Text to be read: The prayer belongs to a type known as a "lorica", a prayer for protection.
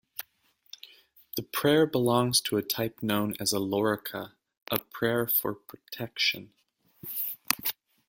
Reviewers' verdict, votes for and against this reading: accepted, 2, 0